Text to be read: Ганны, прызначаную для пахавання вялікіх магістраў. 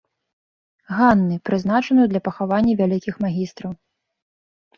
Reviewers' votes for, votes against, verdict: 2, 0, accepted